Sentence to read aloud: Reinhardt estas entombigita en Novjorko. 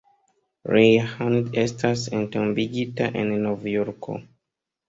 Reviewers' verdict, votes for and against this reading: rejected, 0, 2